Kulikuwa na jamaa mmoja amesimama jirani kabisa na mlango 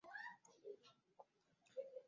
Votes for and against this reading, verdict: 0, 2, rejected